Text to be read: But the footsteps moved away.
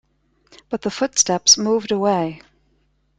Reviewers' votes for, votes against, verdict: 2, 0, accepted